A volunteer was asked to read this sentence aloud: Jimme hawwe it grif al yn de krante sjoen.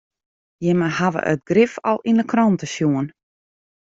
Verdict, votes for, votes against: accepted, 2, 0